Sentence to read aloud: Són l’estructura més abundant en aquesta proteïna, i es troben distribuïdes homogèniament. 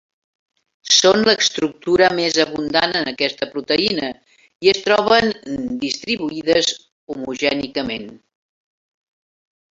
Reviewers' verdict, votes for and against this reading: rejected, 0, 2